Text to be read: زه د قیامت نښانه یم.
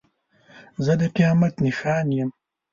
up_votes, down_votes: 1, 2